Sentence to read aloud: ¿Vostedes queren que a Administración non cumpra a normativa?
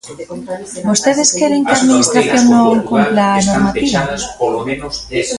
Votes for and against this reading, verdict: 0, 2, rejected